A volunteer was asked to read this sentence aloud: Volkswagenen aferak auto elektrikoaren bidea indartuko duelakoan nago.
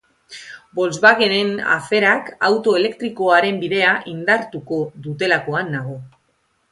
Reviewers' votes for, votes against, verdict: 0, 3, rejected